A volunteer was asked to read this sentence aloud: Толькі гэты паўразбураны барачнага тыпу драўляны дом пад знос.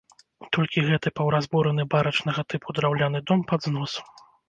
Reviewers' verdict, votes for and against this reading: rejected, 0, 2